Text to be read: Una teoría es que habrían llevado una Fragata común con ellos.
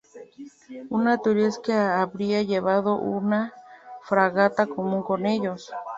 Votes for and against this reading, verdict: 0, 2, rejected